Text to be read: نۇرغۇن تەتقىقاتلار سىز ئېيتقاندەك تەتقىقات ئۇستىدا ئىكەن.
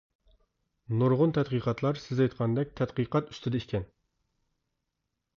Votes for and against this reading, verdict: 0, 2, rejected